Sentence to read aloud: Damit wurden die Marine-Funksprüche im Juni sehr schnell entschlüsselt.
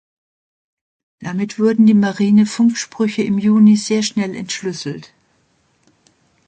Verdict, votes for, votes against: accepted, 2, 0